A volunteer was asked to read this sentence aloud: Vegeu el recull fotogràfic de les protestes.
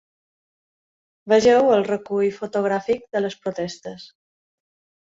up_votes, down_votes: 4, 0